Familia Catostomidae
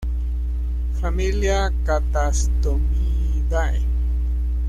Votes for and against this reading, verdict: 1, 2, rejected